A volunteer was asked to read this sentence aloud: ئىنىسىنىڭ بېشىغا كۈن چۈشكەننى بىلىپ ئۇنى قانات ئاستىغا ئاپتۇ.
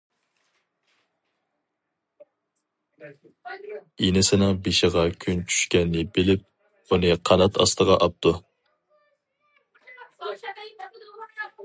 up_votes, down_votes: 0, 2